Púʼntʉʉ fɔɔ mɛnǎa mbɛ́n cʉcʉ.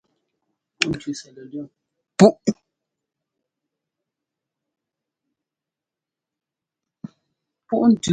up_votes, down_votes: 1, 2